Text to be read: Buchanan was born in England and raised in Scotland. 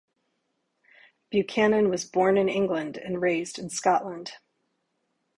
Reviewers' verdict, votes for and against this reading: accepted, 4, 0